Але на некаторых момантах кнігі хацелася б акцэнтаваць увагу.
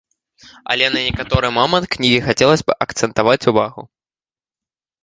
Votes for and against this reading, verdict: 0, 2, rejected